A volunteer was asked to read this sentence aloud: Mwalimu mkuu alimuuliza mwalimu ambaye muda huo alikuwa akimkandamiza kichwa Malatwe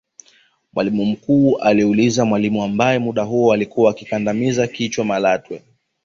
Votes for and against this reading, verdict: 2, 1, accepted